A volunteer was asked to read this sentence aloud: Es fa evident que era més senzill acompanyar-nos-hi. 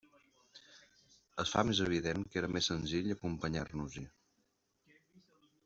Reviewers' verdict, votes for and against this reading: rejected, 0, 2